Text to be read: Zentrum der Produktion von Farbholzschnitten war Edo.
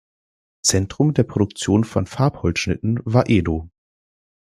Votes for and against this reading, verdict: 2, 0, accepted